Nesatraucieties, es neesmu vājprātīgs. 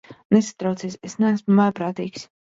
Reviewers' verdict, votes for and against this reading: rejected, 1, 2